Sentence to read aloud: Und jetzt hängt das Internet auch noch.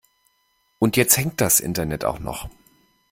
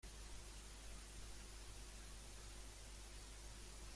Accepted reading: first